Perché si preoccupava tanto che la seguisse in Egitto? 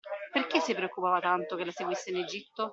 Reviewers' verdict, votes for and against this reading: accepted, 2, 0